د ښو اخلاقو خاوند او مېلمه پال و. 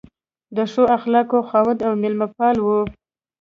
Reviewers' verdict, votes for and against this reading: accepted, 2, 1